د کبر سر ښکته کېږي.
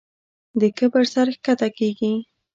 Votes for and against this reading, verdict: 2, 0, accepted